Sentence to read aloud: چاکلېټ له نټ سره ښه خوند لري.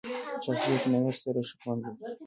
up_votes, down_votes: 0, 2